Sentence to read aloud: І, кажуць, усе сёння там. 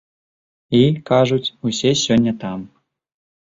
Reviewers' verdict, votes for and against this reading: accepted, 2, 0